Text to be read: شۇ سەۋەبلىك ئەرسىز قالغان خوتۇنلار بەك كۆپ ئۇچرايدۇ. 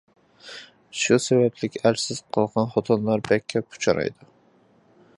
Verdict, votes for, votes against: accepted, 2, 1